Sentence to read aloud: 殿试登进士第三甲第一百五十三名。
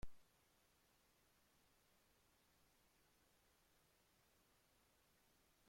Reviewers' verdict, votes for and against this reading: rejected, 0, 2